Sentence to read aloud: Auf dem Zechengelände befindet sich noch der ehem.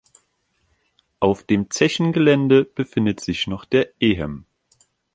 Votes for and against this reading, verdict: 2, 0, accepted